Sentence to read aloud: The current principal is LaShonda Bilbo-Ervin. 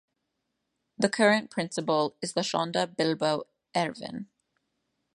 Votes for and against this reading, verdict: 1, 2, rejected